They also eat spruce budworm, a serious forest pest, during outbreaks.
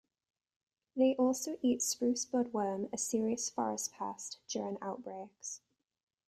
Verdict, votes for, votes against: accepted, 2, 0